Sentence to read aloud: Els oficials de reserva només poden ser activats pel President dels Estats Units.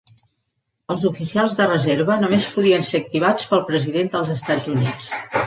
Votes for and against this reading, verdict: 0, 2, rejected